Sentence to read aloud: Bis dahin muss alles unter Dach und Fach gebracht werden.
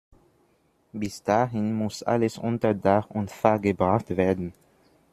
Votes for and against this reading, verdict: 1, 2, rejected